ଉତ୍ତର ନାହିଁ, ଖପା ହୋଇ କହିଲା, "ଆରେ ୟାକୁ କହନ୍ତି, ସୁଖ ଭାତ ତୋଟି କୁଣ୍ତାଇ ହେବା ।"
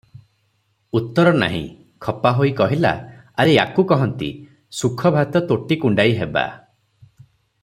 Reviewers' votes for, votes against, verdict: 3, 3, rejected